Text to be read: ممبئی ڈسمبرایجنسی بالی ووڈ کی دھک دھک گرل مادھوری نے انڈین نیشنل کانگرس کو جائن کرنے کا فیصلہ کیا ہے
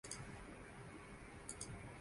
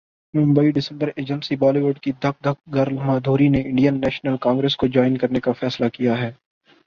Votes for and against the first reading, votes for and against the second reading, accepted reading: 4, 9, 7, 3, second